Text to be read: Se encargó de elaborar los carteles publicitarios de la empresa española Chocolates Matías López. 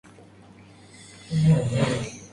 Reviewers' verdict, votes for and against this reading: rejected, 0, 2